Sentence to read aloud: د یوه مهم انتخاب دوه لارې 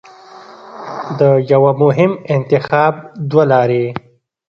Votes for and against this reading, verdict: 1, 2, rejected